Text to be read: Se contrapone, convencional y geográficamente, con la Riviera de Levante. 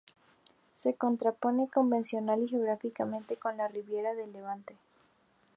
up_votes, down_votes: 0, 2